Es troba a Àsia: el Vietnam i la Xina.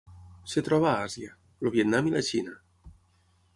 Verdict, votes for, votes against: rejected, 3, 6